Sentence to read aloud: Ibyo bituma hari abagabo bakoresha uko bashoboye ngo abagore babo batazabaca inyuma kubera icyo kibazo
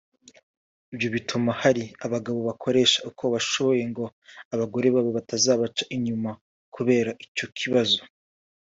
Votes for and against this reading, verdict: 0, 2, rejected